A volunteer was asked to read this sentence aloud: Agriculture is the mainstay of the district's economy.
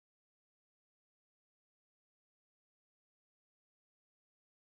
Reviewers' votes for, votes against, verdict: 0, 2, rejected